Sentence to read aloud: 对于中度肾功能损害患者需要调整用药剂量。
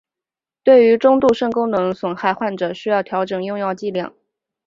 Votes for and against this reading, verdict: 2, 0, accepted